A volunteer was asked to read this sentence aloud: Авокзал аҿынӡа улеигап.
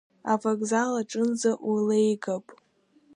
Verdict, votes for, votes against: accepted, 2, 0